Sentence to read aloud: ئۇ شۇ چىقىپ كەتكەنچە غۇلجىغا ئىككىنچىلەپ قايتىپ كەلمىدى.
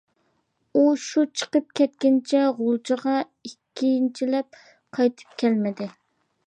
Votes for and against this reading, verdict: 2, 0, accepted